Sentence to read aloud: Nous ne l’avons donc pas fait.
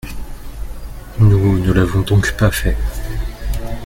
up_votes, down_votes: 2, 0